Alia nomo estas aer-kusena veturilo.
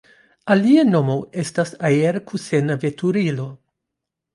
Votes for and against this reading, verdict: 2, 0, accepted